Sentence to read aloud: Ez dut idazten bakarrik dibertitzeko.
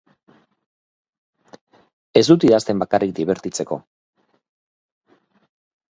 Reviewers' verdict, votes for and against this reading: accepted, 4, 0